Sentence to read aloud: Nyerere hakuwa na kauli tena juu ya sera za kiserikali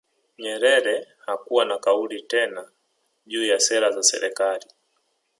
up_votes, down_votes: 1, 2